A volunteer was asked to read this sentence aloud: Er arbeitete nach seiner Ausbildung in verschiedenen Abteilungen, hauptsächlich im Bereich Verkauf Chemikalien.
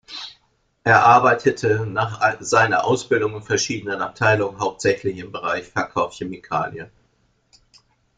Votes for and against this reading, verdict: 0, 2, rejected